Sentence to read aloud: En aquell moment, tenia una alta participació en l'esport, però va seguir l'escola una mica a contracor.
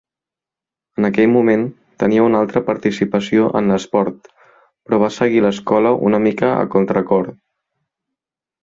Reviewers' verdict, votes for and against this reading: rejected, 1, 2